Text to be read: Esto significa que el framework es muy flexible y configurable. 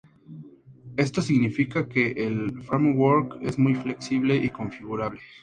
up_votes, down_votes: 2, 0